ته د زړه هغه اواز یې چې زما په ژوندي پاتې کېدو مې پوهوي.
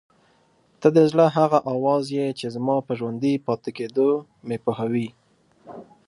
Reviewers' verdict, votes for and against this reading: accepted, 2, 0